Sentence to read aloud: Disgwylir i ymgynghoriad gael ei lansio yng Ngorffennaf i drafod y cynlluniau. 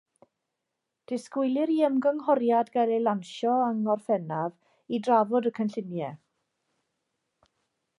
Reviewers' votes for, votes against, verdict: 2, 0, accepted